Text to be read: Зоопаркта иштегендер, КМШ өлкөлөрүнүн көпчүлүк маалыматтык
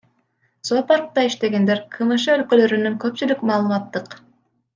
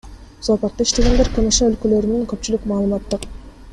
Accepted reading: first